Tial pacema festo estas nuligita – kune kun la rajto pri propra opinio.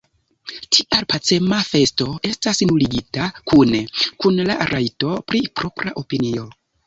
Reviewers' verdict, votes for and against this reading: rejected, 1, 2